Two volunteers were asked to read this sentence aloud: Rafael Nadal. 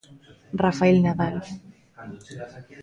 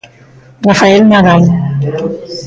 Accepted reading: second